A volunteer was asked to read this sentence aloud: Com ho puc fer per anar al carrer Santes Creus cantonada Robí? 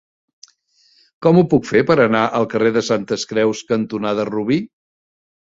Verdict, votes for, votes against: rejected, 0, 2